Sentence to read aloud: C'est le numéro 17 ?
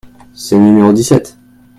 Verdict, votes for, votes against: rejected, 0, 2